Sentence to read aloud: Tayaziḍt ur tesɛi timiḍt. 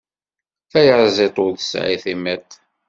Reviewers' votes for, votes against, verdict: 3, 0, accepted